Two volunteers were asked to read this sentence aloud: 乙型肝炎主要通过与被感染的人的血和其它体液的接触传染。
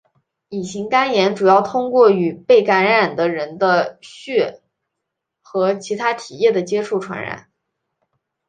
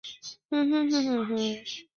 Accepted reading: first